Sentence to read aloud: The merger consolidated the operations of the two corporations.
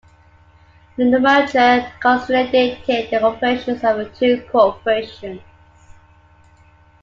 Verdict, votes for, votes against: rejected, 1, 2